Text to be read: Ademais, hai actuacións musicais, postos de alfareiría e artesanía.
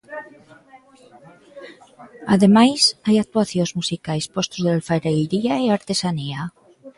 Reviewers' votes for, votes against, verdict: 2, 1, accepted